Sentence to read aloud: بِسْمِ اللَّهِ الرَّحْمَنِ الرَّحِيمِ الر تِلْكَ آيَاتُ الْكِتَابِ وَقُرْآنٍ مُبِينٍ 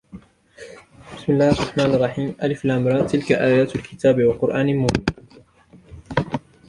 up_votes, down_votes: 1, 2